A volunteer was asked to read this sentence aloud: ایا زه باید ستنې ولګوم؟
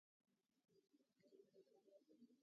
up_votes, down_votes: 1, 2